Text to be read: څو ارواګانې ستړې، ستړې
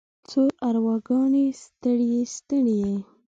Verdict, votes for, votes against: accepted, 2, 0